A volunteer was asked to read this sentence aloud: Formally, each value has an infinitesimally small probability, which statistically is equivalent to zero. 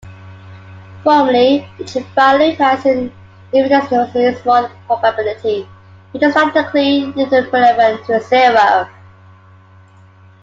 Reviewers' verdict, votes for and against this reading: rejected, 0, 2